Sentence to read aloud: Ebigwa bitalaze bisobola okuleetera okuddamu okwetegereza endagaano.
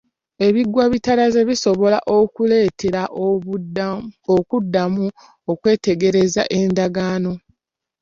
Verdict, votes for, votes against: accepted, 2, 0